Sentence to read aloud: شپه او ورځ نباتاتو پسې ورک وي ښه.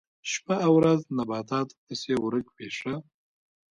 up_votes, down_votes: 0, 2